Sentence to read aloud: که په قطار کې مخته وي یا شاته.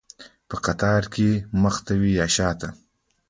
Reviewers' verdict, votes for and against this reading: rejected, 1, 2